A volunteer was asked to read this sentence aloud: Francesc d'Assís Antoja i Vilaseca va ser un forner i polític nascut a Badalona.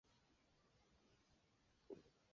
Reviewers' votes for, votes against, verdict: 0, 2, rejected